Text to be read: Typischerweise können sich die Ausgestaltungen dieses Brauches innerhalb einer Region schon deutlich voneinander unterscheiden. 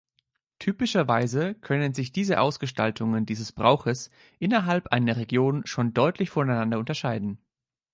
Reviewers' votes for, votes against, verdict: 0, 2, rejected